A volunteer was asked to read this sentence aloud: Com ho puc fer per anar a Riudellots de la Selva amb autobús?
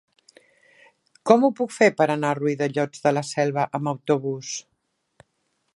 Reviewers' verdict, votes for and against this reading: accepted, 2, 1